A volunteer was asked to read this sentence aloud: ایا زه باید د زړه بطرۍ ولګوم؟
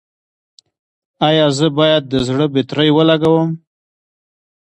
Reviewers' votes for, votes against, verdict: 0, 2, rejected